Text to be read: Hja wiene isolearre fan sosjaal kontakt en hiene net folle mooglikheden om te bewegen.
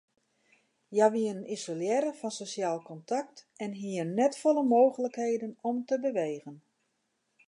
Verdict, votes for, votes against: accepted, 2, 0